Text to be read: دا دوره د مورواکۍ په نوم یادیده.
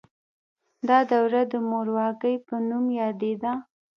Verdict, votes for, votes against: accepted, 2, 0